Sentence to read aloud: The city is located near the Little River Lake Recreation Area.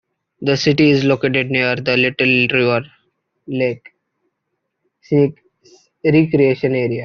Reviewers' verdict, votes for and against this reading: rejected, 0, 2